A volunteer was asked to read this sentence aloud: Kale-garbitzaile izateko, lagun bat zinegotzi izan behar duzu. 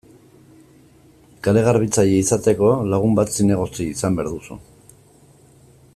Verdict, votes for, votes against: accepted, 2, 0